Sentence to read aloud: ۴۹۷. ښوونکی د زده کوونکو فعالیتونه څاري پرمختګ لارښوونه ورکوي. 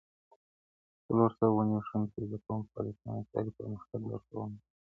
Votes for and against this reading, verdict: 0, 2, rejected